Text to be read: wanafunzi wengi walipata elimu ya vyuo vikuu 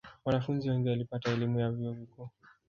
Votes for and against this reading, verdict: 1, 2, rejected